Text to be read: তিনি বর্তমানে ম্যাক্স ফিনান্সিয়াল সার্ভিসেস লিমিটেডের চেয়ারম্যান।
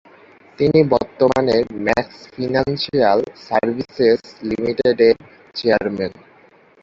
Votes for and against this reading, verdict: 0, 2, rejected